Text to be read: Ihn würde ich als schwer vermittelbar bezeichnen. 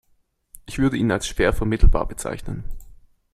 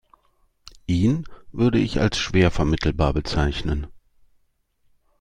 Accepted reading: second